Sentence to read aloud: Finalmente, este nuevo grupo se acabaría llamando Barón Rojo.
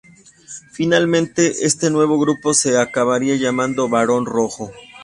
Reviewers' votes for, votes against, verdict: 2, 0, accepted